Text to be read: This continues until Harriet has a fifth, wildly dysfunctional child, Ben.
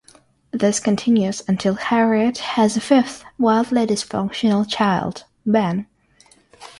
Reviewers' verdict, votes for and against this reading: rejected, 3, 3